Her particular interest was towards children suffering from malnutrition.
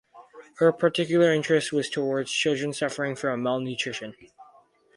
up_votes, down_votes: 2, 0